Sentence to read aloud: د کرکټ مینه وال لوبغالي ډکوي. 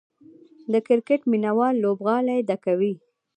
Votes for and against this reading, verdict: 1, 2, rejected